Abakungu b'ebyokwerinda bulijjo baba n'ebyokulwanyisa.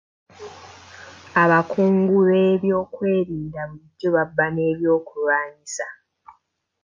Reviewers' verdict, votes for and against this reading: rejected, 1, 2